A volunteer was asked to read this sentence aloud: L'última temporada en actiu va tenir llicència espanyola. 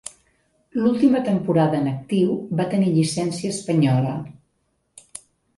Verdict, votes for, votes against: accepted, 2, 0